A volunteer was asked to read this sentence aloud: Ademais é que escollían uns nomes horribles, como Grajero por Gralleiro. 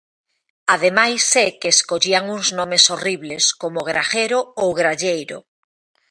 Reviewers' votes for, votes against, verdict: 1, 2, rejected